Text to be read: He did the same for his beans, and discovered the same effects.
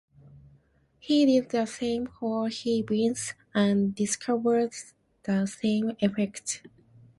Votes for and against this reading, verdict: 0, 2, rejected